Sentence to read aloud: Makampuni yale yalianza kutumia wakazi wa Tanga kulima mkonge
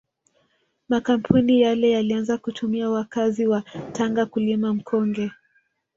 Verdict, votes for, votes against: rejected, 1, 2